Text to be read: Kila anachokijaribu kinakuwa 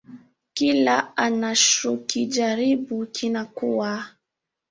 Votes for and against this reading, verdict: 1, 2, rejected